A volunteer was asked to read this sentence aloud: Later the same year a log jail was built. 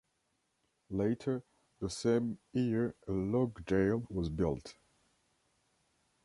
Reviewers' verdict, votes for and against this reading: rejected, 1, 2